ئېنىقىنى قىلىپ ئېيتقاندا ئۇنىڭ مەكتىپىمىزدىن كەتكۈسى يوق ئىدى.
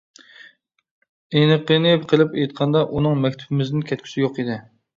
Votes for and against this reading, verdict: 2, 0, accepted